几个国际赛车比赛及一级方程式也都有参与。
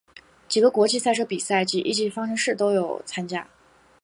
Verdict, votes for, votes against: rejected, 2, 4